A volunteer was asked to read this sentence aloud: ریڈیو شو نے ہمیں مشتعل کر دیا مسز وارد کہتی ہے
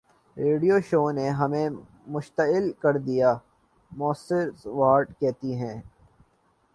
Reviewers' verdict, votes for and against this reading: rejected, 0, 2